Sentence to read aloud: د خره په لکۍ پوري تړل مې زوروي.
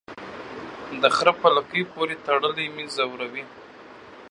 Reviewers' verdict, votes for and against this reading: rejected, 1, 2